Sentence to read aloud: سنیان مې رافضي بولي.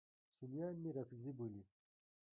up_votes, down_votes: 1, 2